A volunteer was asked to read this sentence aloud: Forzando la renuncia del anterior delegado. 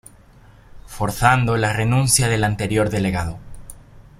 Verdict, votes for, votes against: accepted, 2, 0